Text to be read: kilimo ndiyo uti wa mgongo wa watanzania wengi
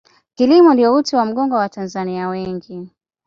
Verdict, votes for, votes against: accepted, 2, 0